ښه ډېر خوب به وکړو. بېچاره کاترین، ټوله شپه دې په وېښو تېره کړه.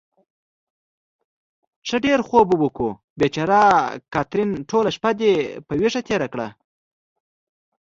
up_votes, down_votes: 2, 0